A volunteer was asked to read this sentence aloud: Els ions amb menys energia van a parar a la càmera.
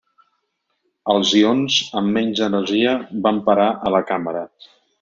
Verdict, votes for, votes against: rejected, 0, 2